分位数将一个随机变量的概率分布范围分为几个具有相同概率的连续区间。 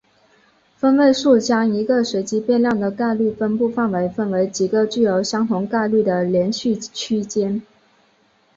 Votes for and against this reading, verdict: 3, 0, accepted